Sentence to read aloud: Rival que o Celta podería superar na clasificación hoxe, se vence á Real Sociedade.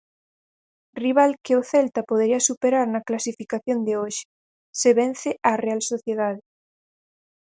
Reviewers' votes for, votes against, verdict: 2, 4, rejected